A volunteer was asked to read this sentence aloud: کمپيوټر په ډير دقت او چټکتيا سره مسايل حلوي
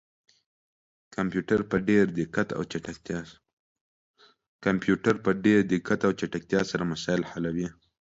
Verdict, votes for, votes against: rejected, 0, 2